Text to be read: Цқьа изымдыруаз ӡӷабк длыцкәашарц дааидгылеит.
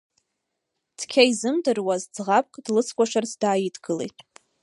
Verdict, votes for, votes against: accepted, 2, 1